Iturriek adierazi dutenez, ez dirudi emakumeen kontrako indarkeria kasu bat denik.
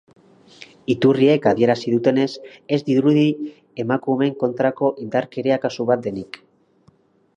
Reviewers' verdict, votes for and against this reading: accepted, 2, 0